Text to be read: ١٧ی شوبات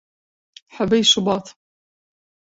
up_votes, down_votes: 0, 2